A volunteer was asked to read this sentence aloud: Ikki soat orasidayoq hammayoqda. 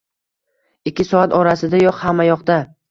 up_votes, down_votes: 1, 2